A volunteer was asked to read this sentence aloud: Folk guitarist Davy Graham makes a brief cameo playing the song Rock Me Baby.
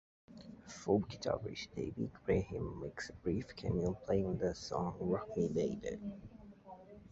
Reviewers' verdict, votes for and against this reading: accepted, 2, 1